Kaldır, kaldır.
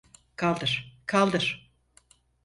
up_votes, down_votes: 4, 0